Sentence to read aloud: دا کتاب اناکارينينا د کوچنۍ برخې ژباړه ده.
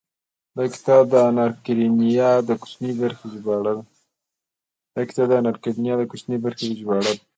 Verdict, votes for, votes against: rejected, 1, 2